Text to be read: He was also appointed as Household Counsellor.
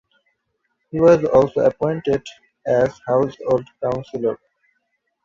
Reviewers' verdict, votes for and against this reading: accepted, 3, 1